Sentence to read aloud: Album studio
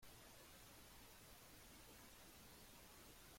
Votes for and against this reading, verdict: 0, 2, rejected